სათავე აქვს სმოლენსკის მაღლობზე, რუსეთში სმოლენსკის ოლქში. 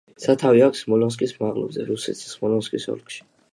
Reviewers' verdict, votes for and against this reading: accepted, 2, 1